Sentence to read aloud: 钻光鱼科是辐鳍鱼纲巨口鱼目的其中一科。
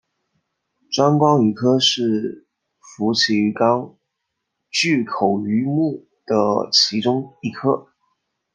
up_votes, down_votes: 2, 0